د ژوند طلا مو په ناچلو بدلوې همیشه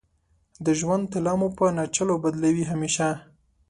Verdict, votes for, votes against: accepted, 5, 0